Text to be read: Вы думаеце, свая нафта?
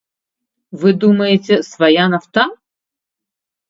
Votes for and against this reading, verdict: 1, 2, rejected